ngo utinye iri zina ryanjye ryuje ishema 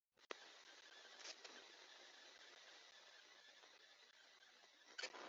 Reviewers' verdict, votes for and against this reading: rejected, 1, 2